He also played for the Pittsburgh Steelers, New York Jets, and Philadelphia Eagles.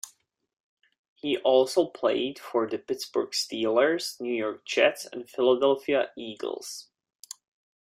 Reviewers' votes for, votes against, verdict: 2, 0, accepted